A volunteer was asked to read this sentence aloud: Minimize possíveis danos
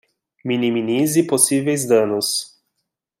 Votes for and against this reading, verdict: 0, 2, rejected